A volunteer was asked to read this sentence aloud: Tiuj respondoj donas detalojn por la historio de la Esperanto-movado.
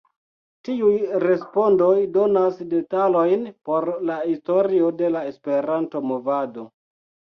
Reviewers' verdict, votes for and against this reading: rejected, 1, 2